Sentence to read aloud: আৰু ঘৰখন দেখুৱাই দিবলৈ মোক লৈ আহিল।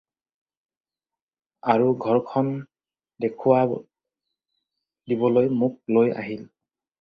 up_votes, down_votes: 0, 2